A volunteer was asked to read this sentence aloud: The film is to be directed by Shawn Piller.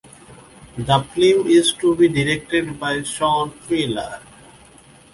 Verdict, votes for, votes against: accepted, 2, 0